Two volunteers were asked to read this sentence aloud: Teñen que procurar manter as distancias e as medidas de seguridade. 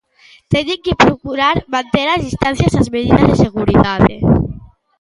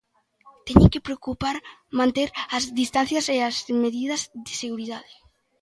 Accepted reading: first